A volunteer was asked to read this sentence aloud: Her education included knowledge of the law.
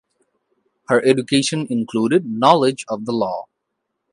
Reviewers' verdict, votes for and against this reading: accepted, 2, 0